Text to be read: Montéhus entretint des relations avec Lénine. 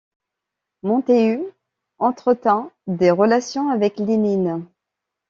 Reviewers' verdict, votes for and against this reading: accepted, 2, 0